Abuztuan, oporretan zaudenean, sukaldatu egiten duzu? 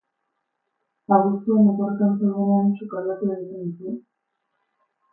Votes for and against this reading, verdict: 0, 6, rejected